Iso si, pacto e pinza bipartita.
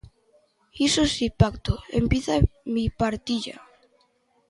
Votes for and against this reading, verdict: 0, 2, rejected